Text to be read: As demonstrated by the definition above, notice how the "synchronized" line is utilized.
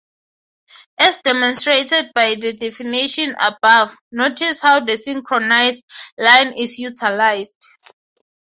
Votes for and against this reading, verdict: 3, 0, accepted